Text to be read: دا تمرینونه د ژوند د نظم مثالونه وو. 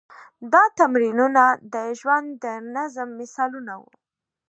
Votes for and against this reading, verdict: 2, 0, accepted